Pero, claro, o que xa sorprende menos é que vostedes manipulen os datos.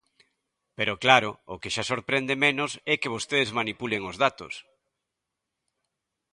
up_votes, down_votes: 2, 0